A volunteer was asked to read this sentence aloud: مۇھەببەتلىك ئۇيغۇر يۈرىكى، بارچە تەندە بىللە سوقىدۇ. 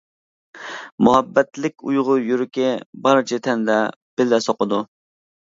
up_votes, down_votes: 2, 0